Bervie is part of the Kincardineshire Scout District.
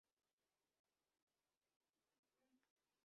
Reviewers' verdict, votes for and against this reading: rejected, 0, 2